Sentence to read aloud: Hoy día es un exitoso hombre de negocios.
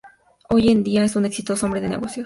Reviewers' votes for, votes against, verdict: 2, 0, accepted